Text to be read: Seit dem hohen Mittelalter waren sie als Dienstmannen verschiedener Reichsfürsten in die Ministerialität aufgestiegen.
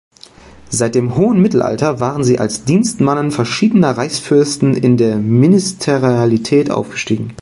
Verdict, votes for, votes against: rejected, 0, 2